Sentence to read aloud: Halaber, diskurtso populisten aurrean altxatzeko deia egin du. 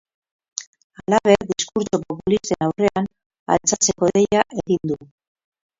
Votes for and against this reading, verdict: 2, 8, rejected